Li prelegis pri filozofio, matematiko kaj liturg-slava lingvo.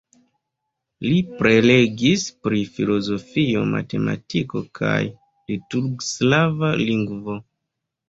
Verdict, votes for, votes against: accepted, 2, 0